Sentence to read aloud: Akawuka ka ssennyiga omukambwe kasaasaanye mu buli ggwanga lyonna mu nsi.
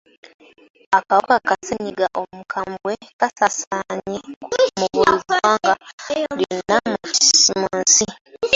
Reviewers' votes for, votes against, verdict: 2, 1, accepted